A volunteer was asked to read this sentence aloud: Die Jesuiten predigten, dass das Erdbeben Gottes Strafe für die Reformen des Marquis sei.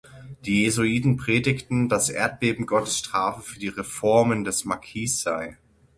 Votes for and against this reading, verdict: 0, 6, rejected